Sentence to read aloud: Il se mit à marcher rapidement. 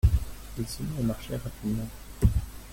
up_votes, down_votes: 1, 2